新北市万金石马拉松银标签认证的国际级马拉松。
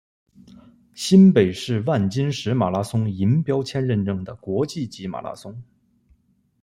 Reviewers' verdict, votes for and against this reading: accepted, 2, 1